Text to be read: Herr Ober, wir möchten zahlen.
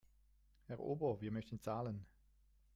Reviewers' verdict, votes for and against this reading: rejected, 1, 2